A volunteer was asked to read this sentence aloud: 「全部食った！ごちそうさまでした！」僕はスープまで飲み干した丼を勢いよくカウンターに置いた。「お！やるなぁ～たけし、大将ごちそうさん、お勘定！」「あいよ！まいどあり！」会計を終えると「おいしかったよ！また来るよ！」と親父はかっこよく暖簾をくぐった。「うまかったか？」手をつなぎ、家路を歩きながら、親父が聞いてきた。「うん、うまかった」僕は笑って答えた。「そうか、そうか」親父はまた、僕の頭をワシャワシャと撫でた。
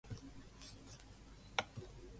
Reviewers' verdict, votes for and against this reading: rejected, 0, 2